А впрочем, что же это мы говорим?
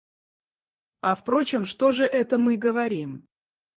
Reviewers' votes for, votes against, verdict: 2, 4, rejected